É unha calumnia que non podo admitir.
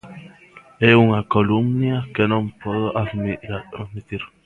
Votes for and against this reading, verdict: 0, 2, rejected